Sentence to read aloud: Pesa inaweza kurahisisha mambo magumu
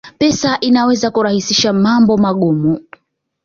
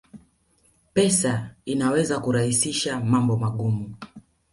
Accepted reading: first